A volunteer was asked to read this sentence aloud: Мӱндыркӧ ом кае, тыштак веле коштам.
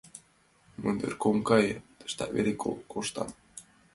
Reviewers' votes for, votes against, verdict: 1, 2, rejected